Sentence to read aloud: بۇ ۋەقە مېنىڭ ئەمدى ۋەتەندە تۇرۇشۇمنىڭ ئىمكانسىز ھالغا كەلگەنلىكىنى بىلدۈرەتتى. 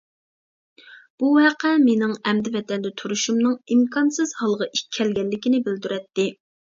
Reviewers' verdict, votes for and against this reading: rejected, 0, 2